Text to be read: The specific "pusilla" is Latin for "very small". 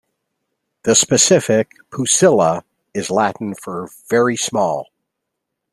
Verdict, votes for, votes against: accepted, 2, 1